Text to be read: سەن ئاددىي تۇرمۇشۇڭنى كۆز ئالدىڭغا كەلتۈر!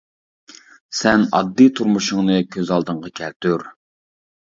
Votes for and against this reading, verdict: 2, 0, accepted